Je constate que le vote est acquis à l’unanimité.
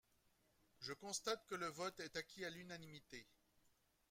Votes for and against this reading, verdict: 0, 2, rejected